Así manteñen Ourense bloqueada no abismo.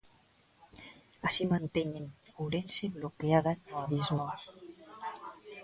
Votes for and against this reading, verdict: 2, 0, accepted